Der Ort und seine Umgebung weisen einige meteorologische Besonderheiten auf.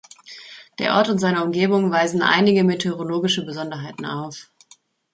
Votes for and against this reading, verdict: 2, 0, accepted